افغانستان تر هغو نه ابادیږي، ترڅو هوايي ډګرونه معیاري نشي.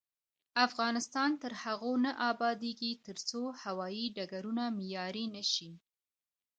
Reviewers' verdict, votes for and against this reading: accepted, 2, 1